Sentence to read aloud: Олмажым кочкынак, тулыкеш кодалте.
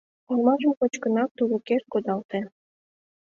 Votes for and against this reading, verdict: 2, 0, accepted